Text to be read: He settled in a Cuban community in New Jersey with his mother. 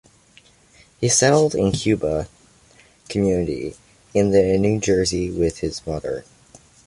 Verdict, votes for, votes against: rejected, 1, 2